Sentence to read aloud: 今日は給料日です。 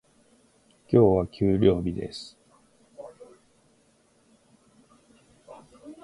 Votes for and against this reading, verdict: 2, 0, accepted